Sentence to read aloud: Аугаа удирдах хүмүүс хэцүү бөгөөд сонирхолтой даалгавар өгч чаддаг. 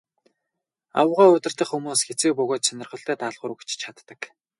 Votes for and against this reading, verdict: 0, 4, rejected